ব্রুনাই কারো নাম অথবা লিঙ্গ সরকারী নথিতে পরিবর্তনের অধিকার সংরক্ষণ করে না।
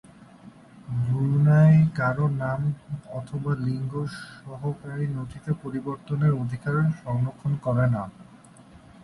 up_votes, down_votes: 4, 8